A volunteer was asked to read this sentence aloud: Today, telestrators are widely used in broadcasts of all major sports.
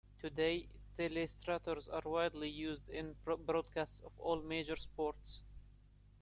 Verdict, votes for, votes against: rejected, 0, 2